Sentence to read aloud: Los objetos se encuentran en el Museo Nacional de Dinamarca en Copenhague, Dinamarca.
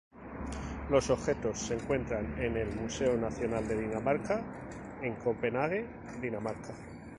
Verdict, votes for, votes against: accepted, 2, 0